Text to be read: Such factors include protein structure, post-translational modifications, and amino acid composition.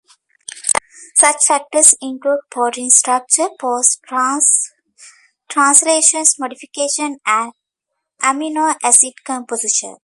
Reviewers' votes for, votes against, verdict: 0, 2, rejected